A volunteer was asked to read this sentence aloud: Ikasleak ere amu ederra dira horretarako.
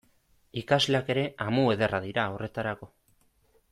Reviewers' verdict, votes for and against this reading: accepted, 2, 0